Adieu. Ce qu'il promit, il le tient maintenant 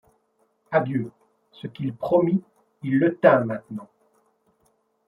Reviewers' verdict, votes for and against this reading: rejected, 1, 2